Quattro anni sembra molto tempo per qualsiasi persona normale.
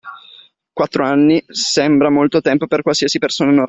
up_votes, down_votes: 2, 0